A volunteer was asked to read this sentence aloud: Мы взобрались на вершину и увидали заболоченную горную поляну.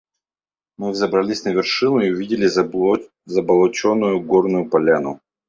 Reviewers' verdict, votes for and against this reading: rejected, 0, 2